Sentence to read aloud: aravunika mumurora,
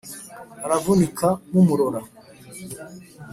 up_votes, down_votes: 2, 0